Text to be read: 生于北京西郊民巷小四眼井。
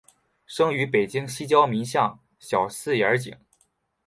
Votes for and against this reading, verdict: 2, 0, accepted